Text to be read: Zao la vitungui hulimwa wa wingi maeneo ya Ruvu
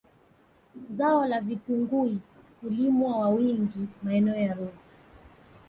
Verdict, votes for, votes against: accepted, 3, 0